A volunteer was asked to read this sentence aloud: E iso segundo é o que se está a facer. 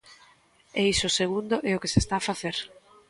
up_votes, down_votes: 2, 0